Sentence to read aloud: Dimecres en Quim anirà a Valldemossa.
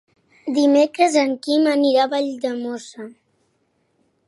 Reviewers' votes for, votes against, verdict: 4, 0, accepted